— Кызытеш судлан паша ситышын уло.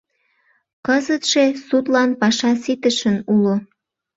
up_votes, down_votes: 0, 2